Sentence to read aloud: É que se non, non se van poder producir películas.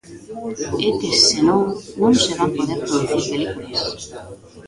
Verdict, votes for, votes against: rejected, 0, 2